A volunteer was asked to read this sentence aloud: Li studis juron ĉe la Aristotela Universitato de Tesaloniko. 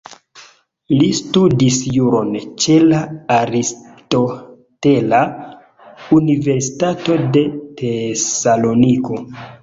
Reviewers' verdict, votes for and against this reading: accepted, 2, 0